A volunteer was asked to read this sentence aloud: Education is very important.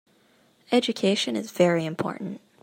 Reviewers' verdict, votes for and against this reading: accepted, 2, 0